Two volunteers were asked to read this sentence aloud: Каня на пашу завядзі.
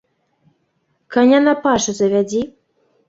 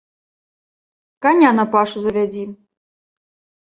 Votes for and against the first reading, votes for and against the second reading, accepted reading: 0, 2, 3, 0, second